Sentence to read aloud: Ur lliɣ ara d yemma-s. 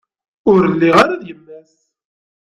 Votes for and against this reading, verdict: 1, 2, rejected